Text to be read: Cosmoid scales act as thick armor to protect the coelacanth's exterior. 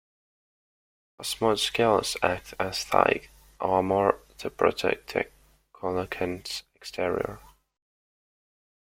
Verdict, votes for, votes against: rejected, 1, 2